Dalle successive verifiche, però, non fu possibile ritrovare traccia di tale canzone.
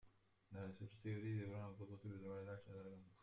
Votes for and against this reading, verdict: 0, 2, rejected